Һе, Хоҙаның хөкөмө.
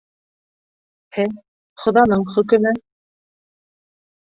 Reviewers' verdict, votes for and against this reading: accepted, 2, 0